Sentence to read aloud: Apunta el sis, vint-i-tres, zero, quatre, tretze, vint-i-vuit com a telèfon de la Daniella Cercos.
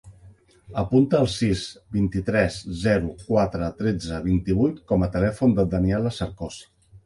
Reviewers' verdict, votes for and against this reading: accepted, 2, 0